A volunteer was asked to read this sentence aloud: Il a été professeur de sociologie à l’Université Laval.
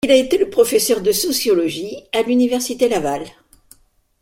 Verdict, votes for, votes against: rejected, 1, 2